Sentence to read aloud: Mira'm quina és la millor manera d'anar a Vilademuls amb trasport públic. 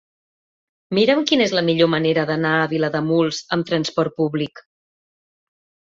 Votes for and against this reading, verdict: 4, 0, accepted